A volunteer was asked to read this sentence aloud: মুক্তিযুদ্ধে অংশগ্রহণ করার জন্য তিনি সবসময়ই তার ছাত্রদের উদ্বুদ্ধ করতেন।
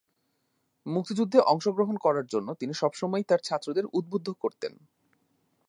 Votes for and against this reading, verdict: 2, 0, accepted